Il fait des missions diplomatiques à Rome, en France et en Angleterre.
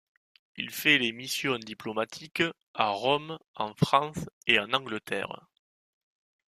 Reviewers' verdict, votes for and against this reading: rejected, 1, 2